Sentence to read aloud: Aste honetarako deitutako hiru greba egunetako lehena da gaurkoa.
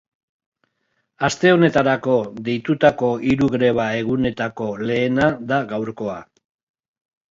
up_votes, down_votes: 2, 0